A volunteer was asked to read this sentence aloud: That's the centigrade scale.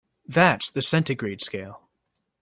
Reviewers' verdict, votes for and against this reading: accepted, 2, 0